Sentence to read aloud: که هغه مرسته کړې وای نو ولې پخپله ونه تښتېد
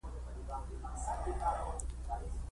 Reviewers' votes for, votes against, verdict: 2, 1, accepted